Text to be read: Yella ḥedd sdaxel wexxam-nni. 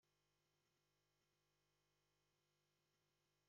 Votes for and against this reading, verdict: 1, 2, rejected